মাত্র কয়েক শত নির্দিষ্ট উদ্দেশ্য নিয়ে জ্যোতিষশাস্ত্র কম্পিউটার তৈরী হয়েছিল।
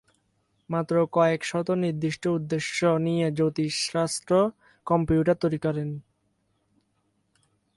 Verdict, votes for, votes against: rejected, 0, 4